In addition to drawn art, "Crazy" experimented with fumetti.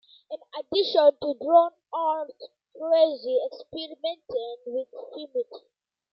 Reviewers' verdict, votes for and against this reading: accepted, 2, 1